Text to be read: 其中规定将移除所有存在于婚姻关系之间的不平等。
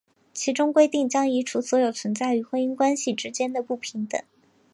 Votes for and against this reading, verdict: 2, 0, accepted